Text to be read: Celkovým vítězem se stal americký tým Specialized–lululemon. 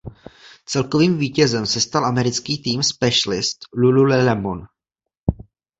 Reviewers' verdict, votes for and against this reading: rejected, 0, 2